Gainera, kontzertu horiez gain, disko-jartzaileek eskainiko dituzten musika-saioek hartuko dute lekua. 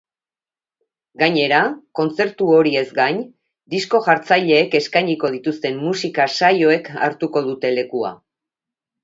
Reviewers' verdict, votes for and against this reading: accepted, 2, 0